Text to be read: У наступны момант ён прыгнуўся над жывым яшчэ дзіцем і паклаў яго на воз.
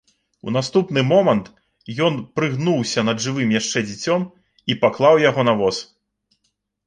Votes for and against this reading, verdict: 2, 0, accepted